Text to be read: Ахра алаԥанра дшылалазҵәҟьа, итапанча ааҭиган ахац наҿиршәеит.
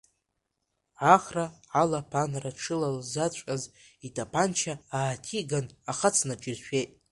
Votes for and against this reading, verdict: 0, 2, rejected